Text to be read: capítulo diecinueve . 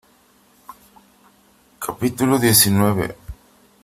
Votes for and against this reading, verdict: 2, 0, accepted